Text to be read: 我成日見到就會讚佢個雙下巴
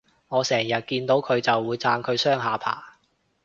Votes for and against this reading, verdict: 0, 2, rejected